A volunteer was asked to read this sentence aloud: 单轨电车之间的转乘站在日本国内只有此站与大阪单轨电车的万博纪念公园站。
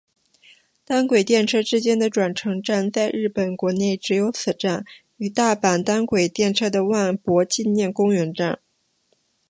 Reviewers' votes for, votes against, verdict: 4, 1, accepted